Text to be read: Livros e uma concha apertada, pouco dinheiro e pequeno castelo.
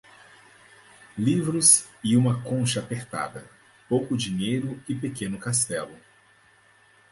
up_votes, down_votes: 4, 0